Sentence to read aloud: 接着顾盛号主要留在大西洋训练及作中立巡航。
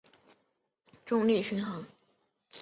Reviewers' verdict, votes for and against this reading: rejected, 0, 4